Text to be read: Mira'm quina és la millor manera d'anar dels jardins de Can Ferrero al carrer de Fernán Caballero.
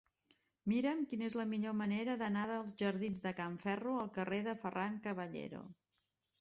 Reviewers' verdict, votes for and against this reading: rejected, 0, 2